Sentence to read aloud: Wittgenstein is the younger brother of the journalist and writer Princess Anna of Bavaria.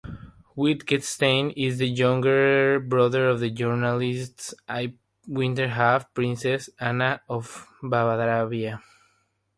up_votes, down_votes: 3, 3